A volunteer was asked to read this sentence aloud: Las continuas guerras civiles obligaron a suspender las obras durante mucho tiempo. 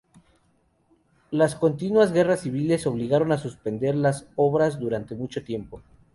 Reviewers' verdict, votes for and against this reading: rejected, 0, 2